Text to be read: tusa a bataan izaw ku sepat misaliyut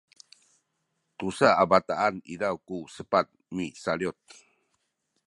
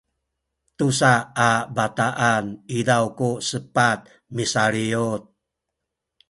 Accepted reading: second